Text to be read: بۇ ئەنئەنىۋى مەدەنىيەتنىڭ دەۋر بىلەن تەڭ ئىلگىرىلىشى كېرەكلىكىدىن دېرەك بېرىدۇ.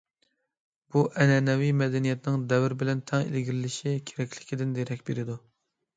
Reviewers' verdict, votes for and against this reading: accepted, 2, 0